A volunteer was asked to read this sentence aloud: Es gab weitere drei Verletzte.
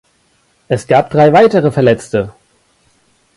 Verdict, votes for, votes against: rejected, 1, 2